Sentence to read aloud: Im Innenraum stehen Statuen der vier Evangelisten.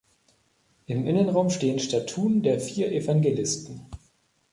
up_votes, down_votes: 1, 2